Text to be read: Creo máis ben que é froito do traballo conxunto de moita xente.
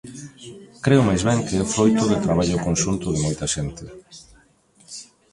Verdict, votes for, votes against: rejected, 1, 2